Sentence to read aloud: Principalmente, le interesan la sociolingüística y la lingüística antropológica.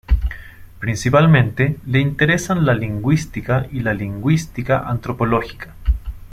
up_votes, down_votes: 1, 2